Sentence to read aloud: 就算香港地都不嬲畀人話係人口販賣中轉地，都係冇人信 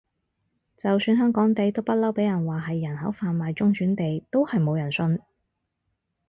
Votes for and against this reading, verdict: 4, 0, accepted